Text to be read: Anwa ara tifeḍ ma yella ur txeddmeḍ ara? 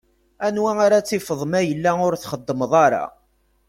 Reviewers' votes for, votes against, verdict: 2, 0, accepted